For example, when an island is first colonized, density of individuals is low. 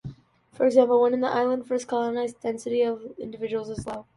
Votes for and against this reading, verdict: 2, 1, accepted